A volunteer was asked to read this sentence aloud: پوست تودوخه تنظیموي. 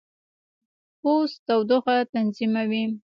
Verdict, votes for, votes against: accepted, 2, 1